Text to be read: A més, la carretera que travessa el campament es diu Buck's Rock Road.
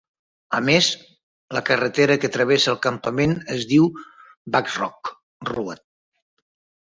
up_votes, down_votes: 1, 2